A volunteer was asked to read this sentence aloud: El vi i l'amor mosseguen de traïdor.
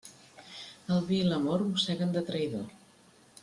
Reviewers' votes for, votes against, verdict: 2, 0, accepted